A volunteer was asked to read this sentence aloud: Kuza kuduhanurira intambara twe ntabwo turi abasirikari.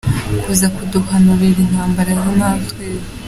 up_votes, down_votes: 1, 2